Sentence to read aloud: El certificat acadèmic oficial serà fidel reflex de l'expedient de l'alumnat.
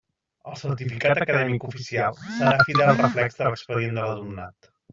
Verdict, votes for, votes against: rejected, 1, 2